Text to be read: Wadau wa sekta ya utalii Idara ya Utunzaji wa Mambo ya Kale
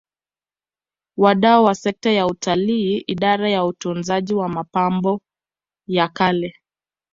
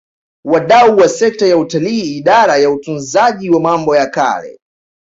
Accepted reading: second